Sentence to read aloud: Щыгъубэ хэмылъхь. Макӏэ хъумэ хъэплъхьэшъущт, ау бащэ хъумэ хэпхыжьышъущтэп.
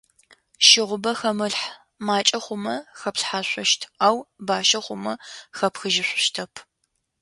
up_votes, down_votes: 2, 0